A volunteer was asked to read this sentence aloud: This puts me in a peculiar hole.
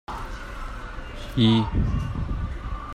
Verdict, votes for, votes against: rejected, 0, 2